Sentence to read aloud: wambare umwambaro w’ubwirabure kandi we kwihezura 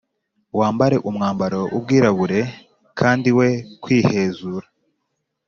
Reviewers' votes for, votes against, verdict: 2, 0, accepted